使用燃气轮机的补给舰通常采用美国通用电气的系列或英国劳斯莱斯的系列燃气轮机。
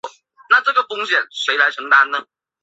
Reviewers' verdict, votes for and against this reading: rejected, 1, 2